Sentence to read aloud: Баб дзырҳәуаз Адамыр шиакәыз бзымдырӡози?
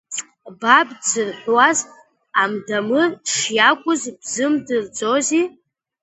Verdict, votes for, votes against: rejected, 0, 2